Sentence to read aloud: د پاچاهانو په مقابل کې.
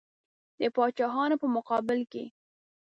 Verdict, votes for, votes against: accepted, 2, 0